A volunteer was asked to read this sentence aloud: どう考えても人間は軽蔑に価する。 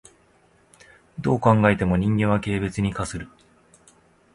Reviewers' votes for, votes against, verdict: 0, 2, rejected